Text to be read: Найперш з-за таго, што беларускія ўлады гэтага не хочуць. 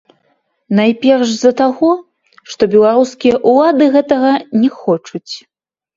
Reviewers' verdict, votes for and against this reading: rejected, 0, 2